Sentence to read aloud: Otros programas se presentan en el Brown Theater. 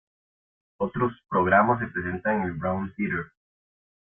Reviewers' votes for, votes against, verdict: 0, 2, rejected